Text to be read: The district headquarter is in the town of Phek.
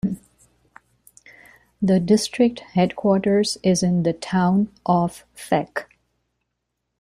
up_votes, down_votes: 0, 2